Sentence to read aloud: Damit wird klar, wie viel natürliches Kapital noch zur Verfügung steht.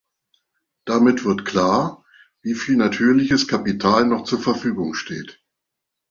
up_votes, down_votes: 2, 0